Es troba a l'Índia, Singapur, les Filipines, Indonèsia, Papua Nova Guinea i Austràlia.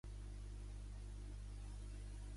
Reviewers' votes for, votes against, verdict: 0, 2, rejected